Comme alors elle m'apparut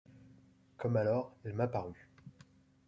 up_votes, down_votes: 2, 1